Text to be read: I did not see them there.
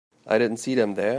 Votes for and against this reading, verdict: 1, 2, rejected